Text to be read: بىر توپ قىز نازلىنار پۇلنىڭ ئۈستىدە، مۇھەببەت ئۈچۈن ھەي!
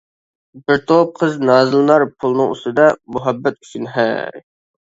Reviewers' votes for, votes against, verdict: 2, 0, accepted